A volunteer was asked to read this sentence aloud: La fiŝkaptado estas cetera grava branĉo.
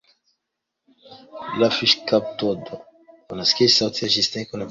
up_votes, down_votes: 2, 1